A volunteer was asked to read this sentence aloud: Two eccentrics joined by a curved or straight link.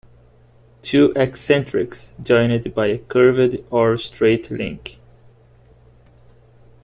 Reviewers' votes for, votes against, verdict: 1, 2, rejected